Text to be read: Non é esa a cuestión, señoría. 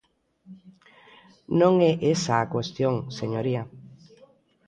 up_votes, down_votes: 1, 2